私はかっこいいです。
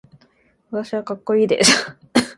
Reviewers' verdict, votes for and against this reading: rejected, 1, 2